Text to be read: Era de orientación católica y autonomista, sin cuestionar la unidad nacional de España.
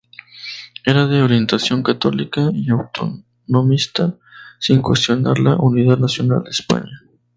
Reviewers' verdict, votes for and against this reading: rejected, 2, 2